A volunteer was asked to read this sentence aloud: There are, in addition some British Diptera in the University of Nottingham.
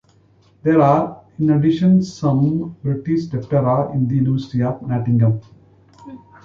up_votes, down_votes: 2, 0